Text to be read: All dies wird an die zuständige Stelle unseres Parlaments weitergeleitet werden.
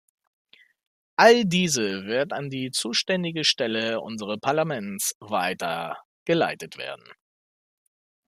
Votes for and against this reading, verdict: 0, 2, rejected